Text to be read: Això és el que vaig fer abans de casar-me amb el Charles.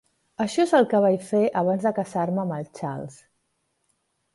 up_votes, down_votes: 1, 2